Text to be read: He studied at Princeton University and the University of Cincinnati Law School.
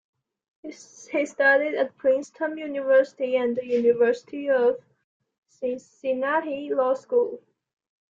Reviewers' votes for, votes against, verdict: 2, 1, accepted